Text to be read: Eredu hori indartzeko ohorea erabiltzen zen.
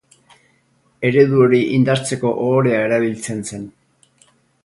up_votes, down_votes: 4, 0